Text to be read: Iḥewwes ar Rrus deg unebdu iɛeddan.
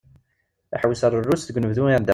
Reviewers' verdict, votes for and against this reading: rejected, 1, 2